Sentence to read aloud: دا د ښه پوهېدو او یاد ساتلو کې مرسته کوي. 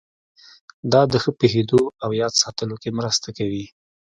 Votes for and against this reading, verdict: 2, 0, accepted